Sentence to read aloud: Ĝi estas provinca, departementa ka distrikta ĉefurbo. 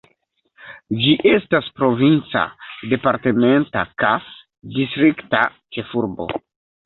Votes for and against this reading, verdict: 2, 0, accepted